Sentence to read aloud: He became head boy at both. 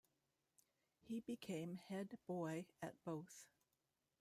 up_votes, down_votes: 1, 2